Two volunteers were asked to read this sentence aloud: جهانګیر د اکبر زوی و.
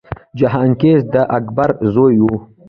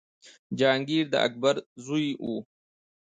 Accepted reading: second